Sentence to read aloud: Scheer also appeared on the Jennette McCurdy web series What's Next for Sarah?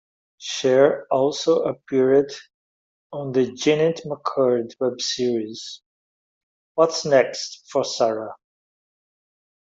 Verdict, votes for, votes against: accepted, 2, 0